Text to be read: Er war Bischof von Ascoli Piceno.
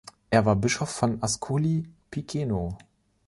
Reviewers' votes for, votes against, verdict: 1, 2, rejected